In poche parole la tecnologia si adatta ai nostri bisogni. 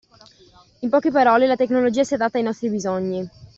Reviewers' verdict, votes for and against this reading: accepted, 2, 0